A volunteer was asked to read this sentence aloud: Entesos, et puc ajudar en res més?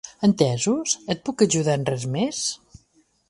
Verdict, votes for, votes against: accepted, 2, 0